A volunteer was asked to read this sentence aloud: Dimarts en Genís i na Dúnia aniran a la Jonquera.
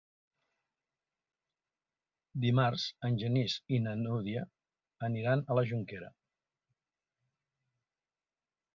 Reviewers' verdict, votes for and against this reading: rejected, 1, 2